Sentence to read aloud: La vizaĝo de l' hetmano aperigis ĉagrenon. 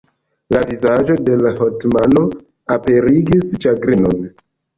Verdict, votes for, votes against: rejected, 0, 2